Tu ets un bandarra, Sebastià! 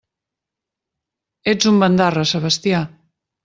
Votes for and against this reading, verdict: 1, 2, rejected